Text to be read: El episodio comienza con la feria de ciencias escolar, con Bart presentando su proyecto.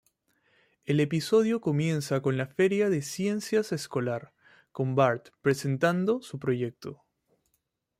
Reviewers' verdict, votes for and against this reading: accepted, 2, 0